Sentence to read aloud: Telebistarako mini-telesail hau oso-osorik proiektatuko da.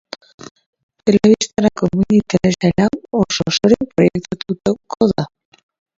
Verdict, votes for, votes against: rejected, 1, 2